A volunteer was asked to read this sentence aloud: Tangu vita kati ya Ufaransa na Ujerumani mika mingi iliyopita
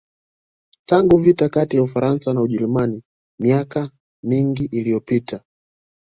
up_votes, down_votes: 2, 0